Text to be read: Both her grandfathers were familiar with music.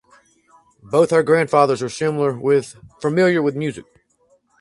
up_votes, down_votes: 2, 4